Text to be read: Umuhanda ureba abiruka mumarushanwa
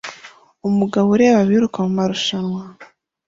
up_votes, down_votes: 1, 2